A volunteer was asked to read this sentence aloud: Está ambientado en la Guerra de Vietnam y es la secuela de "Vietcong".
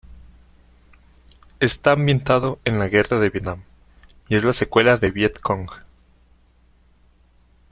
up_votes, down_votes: 2, 0